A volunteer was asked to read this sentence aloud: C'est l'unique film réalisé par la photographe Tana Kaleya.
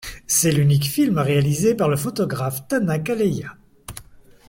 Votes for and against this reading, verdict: 2, 0, accepted